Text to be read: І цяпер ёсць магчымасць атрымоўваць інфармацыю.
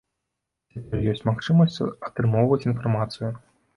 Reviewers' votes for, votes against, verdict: 1, 2, rejected